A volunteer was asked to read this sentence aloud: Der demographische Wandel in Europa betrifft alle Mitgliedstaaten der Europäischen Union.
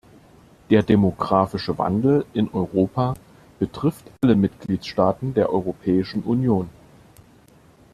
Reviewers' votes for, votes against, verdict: 2, 0, accepted